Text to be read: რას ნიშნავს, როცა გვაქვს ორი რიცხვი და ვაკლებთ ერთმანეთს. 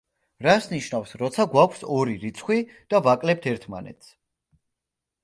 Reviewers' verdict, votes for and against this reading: accepted, 3, 0